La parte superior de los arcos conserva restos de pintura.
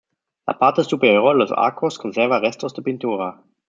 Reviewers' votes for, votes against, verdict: 0, 2, rejected